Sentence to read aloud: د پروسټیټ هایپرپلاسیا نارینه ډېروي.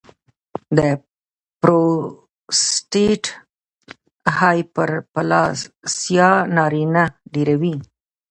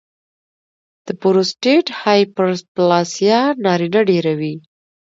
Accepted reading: second